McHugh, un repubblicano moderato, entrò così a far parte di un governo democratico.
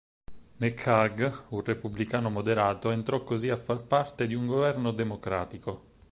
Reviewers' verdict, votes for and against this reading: accepted, 6, 0